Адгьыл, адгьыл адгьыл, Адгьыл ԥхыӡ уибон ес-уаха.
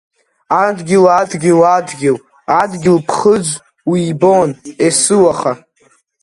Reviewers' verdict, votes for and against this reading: accepted, 2, 0